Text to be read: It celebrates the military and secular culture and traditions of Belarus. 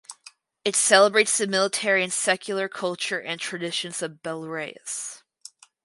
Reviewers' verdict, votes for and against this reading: rejected, 2, 2